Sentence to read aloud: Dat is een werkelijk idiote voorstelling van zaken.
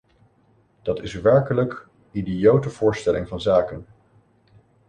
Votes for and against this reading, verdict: 1, 2, rejected